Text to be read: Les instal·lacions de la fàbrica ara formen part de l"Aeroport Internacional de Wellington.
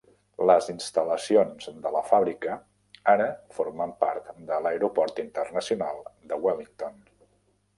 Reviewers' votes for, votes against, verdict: 2, 0, accepted